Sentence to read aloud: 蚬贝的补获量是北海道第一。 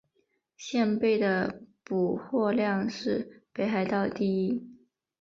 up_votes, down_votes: 1, 2